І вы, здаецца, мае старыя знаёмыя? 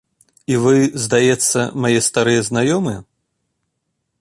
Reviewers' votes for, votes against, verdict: 2, 0, accepted